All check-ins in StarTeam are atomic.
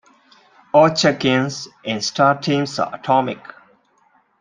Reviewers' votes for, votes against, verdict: 2, 0, accepted